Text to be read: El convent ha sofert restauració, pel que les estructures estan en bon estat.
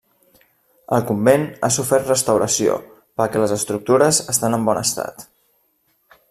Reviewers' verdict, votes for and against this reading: rejected, 0, 2